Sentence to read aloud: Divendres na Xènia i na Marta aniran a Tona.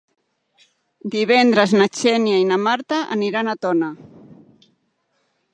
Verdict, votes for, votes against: accepted, 3, 0